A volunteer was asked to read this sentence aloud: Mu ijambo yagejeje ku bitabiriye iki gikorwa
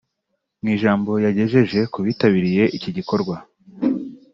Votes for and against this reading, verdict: 2, 0, accepted